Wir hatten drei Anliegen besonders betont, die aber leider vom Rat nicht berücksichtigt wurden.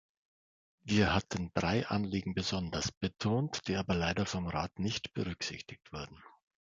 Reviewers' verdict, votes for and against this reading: accepted, 2, 1